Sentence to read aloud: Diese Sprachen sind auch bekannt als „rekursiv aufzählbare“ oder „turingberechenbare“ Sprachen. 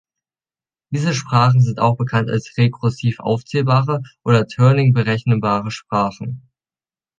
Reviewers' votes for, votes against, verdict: 1, 3, rejected